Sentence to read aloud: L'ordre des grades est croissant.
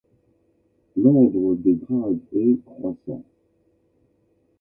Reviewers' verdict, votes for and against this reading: rejected, 1, 2